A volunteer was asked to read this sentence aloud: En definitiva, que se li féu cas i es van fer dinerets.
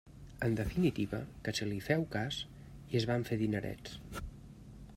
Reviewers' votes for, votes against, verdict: 2, 0, accepted